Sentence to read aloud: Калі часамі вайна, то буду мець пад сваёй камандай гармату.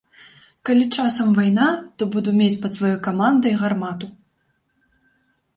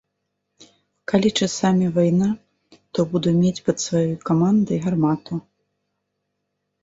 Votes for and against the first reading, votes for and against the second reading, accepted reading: 1, 3, 2, 0, second